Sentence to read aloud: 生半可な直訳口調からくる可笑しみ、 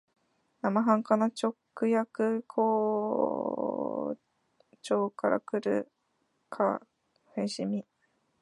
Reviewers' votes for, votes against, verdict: 1, 2, rejected